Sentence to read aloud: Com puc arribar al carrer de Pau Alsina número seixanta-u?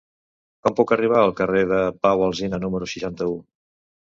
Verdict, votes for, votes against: rejected, 0, 2